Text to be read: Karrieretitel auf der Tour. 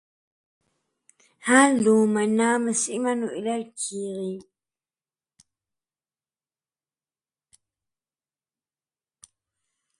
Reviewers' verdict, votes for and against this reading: rejected, 0, 2